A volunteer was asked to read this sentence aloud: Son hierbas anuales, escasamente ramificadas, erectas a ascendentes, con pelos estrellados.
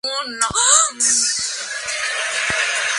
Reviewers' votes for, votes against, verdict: 0, 2, rejected